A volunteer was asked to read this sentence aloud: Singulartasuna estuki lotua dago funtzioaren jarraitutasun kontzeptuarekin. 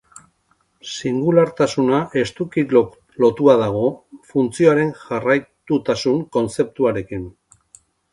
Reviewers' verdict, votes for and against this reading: rejected, 2, 2